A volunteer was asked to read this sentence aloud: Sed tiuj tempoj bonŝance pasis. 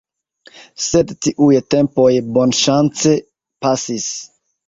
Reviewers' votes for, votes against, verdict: 2, 1, accepted